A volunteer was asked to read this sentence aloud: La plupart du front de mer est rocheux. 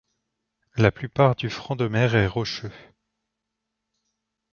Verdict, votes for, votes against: accepted, 2, 0